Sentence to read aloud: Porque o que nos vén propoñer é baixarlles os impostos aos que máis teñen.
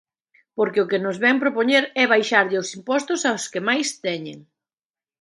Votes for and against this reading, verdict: 1, 2, rejected